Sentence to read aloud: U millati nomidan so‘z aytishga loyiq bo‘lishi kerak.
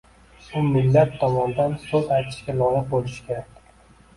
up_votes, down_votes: 0, 2